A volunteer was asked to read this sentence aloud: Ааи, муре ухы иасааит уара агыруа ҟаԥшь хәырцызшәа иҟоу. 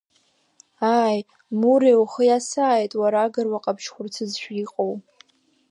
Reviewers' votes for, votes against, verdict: 2, 0, accepted